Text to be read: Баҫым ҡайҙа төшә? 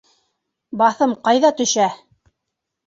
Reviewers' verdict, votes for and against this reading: accepted, 2, 0